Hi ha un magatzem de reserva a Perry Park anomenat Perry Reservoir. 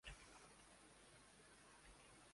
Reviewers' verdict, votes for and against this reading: rejected, 0, 2